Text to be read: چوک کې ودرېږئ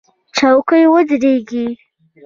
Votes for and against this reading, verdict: 0, 2, rejected